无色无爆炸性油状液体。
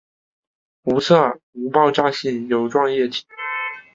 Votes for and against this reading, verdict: 6, 1, accepted